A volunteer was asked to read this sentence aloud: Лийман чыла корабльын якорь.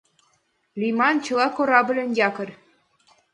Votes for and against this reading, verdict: 4, 0, accepted